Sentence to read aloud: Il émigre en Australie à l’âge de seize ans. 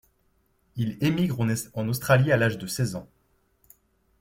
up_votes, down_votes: 0, 2